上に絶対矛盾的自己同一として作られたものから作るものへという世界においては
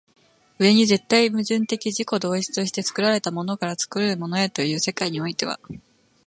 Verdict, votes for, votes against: accepted, 2, 0